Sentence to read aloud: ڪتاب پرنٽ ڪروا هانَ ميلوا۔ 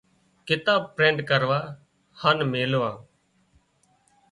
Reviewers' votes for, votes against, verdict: 4, 0, accepted